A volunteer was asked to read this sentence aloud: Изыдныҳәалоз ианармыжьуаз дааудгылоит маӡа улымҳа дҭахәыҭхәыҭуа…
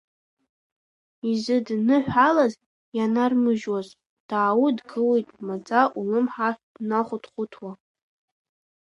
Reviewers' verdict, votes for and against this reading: rejected, 1, 2